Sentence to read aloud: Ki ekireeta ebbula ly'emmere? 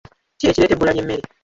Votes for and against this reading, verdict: 0, 2, rejected